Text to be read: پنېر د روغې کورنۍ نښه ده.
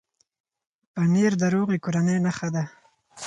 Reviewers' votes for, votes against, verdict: 4, 0, accepted